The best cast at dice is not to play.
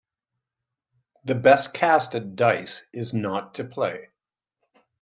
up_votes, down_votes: 2, 0